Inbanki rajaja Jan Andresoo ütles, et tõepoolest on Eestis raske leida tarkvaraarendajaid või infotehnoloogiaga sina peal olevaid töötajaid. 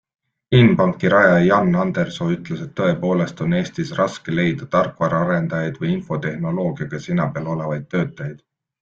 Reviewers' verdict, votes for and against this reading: accepted, 2, 0